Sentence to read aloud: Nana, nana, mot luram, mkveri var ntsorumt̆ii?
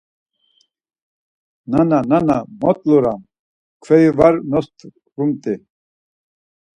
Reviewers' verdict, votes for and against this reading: rejected, 2, 4